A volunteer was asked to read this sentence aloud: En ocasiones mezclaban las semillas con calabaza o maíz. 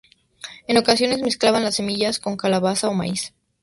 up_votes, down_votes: 0, 2